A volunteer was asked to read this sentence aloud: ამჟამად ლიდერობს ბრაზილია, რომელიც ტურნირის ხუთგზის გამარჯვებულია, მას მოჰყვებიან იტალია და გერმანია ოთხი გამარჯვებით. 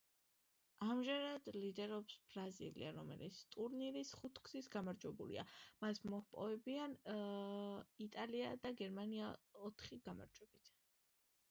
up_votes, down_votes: 1, 2